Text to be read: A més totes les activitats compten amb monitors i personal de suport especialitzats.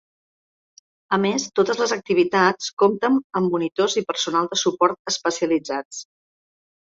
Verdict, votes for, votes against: accepted, 4, 0